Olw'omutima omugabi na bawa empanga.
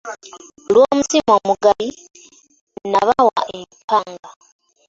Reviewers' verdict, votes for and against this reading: accepted, 2, 0